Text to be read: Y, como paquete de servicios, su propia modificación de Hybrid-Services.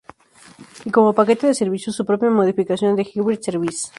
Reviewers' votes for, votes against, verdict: 0, 2, rejected